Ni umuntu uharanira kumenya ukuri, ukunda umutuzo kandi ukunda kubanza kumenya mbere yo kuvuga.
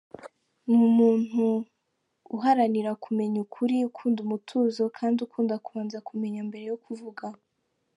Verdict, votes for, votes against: accepted, 3, 1